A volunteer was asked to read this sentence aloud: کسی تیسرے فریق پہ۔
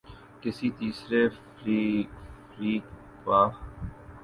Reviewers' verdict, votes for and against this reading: rejected, 0, 2